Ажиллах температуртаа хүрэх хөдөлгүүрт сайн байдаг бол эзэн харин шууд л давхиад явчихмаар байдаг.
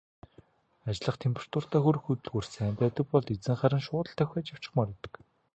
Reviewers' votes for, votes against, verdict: 0, 2, rejected